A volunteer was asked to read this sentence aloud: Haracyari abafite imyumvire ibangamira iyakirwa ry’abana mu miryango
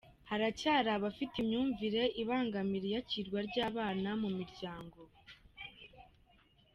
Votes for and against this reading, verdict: 3, 0, accepted